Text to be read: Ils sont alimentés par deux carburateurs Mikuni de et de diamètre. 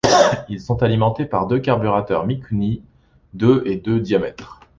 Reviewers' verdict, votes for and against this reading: rejected, 1, 2